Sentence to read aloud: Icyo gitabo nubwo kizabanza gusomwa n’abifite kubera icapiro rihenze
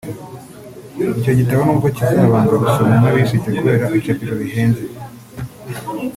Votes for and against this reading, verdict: 1, 2, rejected